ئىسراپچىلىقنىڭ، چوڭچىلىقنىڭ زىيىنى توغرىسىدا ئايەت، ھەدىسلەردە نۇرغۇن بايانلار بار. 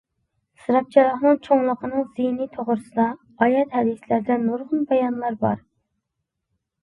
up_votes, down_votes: 0, 2